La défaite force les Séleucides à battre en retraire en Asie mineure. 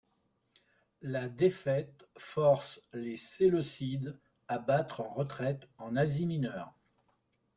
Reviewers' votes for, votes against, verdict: 0, 2, rejected